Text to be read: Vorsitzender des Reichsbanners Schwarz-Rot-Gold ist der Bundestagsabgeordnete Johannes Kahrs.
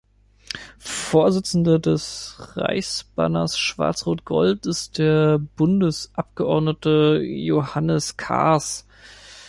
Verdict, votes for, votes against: rejected, 0, 2